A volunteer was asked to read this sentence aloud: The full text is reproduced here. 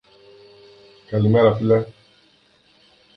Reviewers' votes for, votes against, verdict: 0, 2, rejected